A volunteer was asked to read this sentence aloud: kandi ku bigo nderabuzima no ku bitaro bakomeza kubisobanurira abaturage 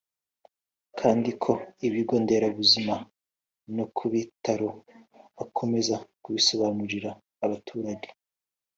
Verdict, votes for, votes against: accepted, 2, 0